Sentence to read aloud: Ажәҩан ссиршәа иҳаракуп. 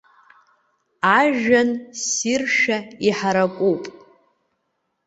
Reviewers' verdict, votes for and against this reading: accepted, 2, 1